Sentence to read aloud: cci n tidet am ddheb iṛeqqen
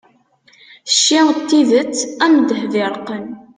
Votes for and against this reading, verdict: 2, 0, accepted